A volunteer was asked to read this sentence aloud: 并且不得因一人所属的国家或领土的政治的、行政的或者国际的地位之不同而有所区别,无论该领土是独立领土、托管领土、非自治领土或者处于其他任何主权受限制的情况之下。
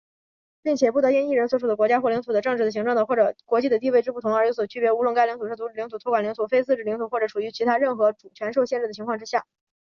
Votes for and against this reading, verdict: 2, 5, rejected